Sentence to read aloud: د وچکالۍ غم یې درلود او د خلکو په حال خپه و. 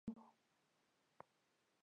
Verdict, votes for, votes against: rejected, 1, 2